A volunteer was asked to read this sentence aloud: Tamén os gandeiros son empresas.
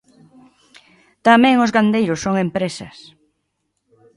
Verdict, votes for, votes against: accepted, 2, 0